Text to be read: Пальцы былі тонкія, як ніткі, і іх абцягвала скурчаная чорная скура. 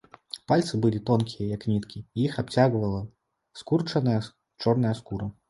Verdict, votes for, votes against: rejected, 0, 2